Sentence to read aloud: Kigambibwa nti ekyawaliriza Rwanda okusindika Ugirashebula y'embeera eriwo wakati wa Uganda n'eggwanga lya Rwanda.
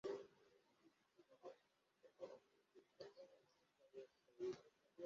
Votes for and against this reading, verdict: 0, 2, rejected